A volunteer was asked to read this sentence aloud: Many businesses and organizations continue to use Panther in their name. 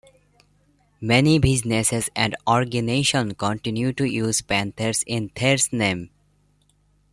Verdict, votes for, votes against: rejected, 0, 2